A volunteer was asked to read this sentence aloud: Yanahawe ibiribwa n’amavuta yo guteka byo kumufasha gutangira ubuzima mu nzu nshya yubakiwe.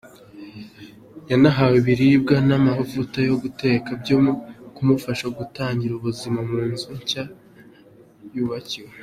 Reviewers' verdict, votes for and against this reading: accepted, 2, 0